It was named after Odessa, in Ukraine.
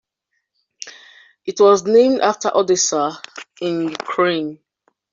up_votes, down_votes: 1, 2